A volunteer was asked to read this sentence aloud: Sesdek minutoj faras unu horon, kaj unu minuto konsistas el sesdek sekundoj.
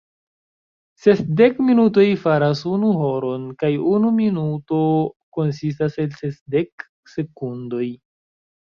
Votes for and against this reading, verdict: 1, 2, rejected